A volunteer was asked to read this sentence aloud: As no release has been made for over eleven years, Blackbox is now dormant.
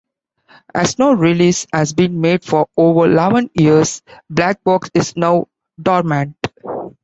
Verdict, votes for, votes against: rejected, 1, 2